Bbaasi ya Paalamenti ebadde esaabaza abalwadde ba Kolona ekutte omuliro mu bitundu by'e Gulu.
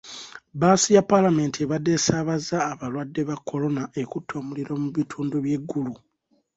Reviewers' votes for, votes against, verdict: 2, 0, accepted